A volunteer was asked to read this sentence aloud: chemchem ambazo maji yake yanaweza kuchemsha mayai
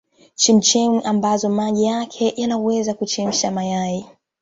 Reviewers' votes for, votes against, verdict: 2, 0, accepted